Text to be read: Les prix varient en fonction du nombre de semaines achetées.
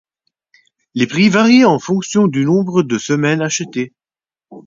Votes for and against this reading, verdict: 4, 0, accepted